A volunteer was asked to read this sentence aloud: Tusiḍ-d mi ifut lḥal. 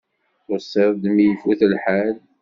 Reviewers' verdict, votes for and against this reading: accepted, 2, 0